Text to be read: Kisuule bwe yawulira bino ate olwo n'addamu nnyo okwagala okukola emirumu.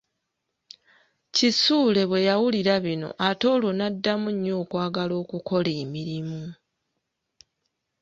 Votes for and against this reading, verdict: 2, 0, accepted